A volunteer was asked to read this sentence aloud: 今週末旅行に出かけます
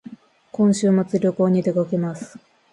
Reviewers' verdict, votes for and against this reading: accepted, 2, 0